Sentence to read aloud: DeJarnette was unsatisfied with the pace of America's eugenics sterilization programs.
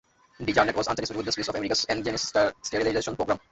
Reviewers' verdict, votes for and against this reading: rejected, 0, 2